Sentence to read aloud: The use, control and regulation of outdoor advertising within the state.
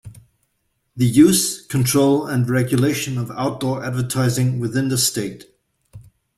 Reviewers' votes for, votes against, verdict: 2, 0, accepted